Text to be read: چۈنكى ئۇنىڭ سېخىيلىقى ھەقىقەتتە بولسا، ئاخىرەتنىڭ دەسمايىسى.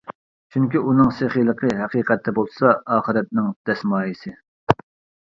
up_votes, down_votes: 2, 0